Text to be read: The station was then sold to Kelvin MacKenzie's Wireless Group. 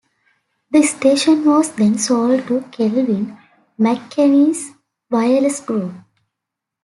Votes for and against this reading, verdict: 0, 2, rejected